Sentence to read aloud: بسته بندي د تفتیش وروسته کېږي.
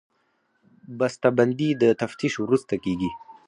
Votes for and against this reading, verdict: 2, 4, rejected